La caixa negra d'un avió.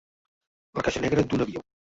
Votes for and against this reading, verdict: 0, 2, rejected